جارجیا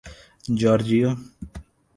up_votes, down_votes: 2, 0